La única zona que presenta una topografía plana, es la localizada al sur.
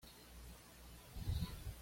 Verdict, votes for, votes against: rejected, 1, 2